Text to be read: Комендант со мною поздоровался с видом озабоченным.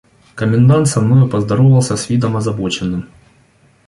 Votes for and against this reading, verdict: 2, 0, accepted